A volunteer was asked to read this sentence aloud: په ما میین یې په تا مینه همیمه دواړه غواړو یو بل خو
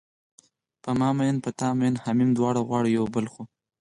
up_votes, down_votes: 4, 0